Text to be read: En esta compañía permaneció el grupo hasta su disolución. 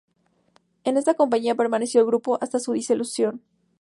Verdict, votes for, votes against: rejected, 2, 2